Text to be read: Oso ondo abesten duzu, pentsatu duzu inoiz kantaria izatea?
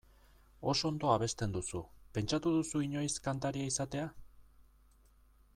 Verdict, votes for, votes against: accepted, 2, 0